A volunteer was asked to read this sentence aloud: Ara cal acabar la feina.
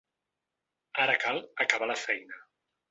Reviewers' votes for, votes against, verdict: 3, 0, accepted